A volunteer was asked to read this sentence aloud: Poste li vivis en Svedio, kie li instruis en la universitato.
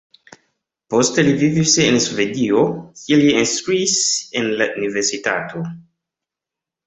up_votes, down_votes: 2, 0